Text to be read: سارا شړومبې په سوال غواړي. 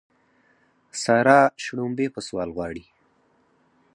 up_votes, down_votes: 4, 2